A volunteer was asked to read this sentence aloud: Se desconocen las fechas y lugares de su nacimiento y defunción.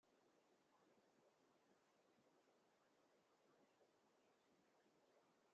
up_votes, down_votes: 0, 2